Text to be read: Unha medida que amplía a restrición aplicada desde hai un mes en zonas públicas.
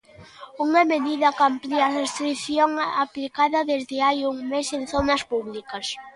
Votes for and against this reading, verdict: 2, 0, accepted